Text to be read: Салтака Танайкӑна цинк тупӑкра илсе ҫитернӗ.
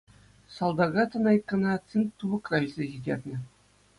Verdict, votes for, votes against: accepted, 2, 0